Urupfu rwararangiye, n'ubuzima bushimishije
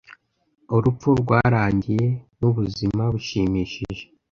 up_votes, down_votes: 0, 2